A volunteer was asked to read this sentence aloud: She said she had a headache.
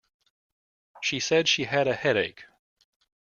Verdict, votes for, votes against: accepted, 2, 0